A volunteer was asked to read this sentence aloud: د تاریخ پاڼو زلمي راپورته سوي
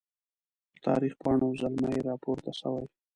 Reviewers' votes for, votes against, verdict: 1, 2, rejected